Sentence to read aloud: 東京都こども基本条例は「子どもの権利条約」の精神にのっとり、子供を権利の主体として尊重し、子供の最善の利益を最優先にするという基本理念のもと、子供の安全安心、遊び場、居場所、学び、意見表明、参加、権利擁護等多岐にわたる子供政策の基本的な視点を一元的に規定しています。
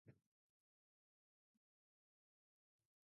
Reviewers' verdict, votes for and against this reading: rejected, 0, 2